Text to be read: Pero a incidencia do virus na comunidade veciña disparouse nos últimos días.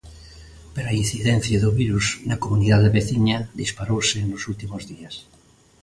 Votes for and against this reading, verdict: 3, 0, accepted